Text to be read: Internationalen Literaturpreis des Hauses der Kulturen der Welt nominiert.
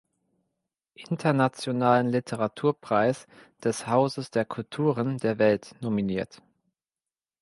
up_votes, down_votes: 2, 0